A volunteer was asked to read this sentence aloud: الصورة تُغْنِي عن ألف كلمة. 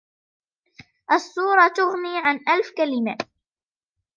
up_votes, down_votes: 0, 2